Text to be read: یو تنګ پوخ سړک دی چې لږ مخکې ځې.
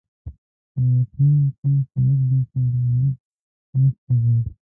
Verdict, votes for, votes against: rejected, 0, 2